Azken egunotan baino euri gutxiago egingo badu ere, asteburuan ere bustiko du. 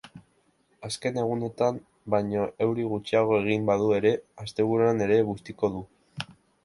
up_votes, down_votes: 3, 0